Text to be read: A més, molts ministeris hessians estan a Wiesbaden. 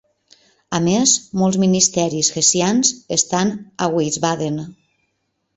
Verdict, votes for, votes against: accepted, 2, 0